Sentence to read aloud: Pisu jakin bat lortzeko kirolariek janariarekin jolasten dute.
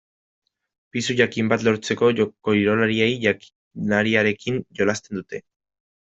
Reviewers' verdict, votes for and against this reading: rejected, 0, 2